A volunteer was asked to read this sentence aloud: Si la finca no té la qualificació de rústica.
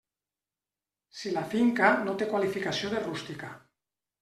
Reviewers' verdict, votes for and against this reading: rejected, 1, 2